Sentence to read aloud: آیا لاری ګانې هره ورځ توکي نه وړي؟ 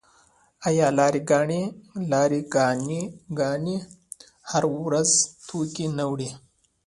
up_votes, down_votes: 1, 2